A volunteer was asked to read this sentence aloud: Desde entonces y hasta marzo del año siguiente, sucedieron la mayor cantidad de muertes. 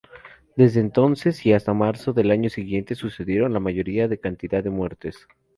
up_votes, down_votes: 0, 2